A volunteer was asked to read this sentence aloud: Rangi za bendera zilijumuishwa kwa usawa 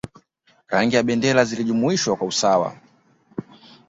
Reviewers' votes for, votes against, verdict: 2, 1, accepted